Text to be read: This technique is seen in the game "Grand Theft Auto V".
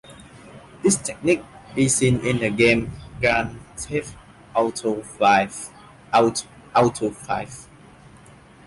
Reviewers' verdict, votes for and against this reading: rejected, 0, 2